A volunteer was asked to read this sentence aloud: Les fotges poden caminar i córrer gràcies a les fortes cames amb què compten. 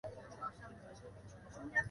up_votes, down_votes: 1, 2